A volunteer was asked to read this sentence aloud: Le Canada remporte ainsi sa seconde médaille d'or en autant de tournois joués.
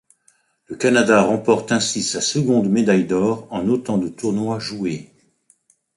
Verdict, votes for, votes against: accepted, 2, 0